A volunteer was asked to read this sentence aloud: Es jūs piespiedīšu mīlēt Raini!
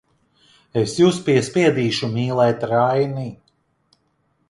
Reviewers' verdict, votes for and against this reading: accepted, 2, 1